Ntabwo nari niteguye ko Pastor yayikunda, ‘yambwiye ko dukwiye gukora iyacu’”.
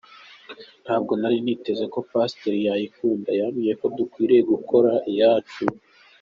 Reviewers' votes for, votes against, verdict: 2, 1, accepted